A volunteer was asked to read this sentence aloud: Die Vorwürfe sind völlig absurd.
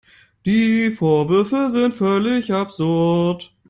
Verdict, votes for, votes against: rejected, 1, 2